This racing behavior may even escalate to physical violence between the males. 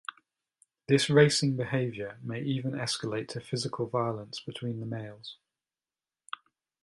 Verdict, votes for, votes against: accepted, 2, 0